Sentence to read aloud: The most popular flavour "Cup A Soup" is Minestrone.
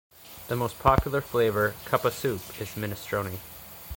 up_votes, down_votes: 2, 0